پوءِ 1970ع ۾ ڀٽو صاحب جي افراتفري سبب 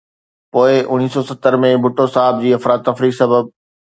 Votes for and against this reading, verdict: 0, 2, rejected